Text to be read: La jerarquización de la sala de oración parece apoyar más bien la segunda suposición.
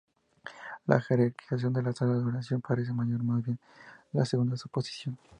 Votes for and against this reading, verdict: 2, 0, accepted